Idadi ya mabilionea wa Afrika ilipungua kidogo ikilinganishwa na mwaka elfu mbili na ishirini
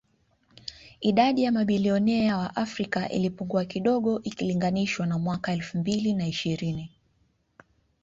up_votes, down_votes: 2, 0